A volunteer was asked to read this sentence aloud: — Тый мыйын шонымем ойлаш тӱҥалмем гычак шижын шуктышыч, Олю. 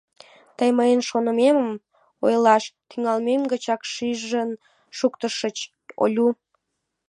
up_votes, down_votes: 0, 2